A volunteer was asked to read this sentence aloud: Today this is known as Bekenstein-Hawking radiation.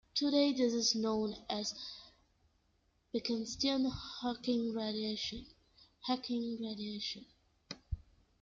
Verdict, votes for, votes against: rejected, 0, 2